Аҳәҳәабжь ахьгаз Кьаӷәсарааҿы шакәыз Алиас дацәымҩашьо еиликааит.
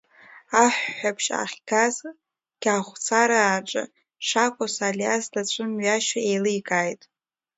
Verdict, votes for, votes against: accepted, 2, 0